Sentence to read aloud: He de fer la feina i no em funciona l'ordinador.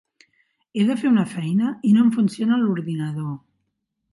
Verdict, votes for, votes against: rejected, 0, 2